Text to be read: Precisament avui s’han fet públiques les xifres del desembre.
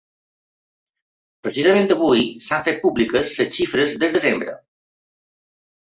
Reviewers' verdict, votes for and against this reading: rejected, 1, 2